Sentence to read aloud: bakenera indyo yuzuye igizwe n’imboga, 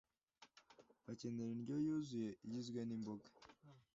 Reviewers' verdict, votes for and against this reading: accepted, 2, 0